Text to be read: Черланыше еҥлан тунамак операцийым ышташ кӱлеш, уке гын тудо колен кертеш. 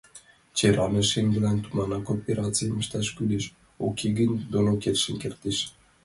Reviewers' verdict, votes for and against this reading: rejected, 0, 2